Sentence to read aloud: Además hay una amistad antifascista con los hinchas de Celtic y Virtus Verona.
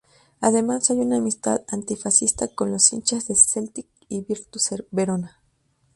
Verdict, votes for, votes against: rejected, 0, 2